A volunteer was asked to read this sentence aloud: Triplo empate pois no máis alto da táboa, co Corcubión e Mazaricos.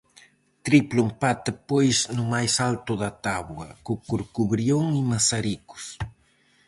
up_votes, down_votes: 0, 4